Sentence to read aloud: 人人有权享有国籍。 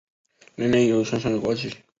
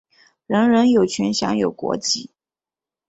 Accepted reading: second